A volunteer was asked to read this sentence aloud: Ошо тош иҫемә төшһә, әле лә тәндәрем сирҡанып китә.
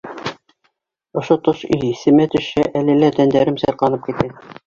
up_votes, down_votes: 1, 2